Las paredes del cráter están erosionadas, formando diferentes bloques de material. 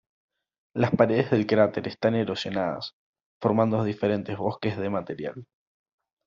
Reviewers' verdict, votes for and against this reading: rejected, 1, 2